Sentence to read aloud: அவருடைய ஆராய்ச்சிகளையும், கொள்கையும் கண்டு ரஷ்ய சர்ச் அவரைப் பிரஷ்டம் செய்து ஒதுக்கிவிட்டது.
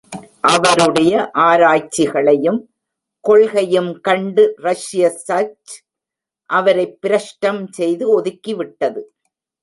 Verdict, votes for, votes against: rejected, 0, 2